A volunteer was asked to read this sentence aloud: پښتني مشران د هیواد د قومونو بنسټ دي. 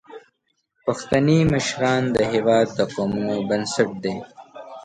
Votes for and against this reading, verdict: 0, 2, rejected